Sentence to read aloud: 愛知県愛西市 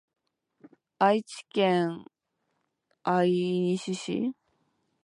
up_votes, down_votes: 1, 2